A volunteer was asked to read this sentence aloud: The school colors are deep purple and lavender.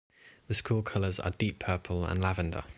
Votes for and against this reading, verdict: 2, 0, accepted